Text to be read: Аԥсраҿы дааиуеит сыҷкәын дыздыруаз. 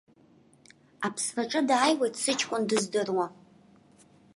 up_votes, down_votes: 2, 0